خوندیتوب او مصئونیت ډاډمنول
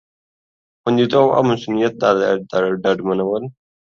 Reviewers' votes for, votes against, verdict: 1, 2, rejected